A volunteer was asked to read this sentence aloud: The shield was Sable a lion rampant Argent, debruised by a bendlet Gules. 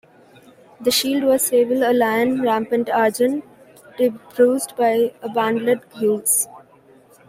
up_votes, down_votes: 2, 1